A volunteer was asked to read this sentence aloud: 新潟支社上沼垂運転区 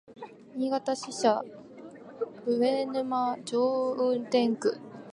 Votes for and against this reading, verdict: 0, 2, rejected